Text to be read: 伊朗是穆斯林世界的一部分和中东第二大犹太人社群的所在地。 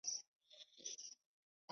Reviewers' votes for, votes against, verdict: 4, 3, accepted